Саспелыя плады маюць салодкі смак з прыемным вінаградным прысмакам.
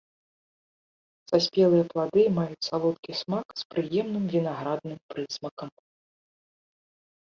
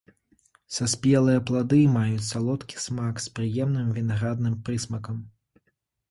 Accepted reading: second